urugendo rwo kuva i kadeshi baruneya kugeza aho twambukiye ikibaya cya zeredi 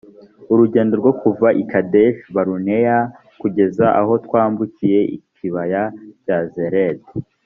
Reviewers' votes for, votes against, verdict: 1, 2, rejected